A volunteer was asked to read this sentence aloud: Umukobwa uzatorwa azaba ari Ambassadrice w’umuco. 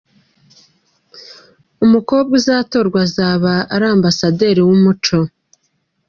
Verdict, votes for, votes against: rejected, 1, 2